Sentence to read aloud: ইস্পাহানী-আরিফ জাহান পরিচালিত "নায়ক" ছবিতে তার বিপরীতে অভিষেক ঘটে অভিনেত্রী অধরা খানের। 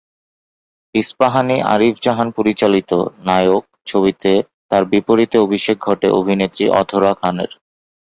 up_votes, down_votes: 31, 1